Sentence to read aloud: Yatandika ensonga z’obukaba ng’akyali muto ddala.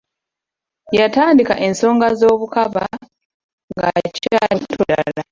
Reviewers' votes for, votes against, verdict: 0, 2, rejected